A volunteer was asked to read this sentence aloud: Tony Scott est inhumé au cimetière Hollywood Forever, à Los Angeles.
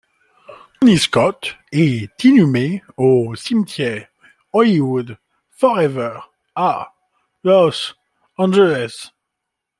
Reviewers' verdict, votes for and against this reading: rejected, 0, 2